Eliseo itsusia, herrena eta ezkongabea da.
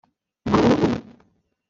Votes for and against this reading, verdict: 1, 2, rejected